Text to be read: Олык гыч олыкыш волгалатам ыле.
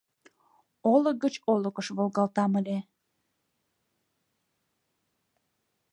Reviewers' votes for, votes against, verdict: 0, 2, rejected